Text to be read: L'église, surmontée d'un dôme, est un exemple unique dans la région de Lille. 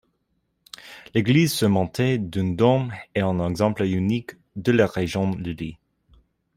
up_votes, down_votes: 1, 2